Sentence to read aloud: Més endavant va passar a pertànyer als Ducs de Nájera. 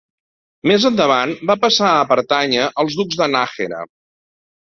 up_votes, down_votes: 1, 2